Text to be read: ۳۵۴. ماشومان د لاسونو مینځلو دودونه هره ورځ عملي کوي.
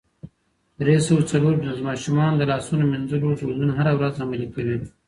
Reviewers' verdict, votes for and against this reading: rejected, 0, 2